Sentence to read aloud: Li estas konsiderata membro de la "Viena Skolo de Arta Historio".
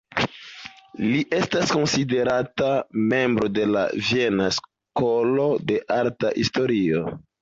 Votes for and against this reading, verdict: 1, 2, rejected